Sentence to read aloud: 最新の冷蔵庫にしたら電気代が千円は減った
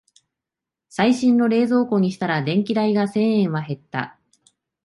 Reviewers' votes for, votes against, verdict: 8, 1, accepted